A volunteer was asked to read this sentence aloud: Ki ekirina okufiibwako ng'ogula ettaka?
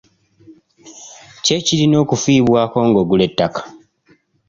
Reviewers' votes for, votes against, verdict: 2, 0, accepted